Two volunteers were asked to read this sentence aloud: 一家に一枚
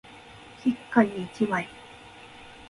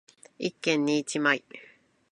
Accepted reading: first